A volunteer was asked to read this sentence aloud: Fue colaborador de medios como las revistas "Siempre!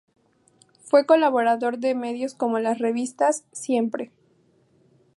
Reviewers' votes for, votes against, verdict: 2, 0, accepted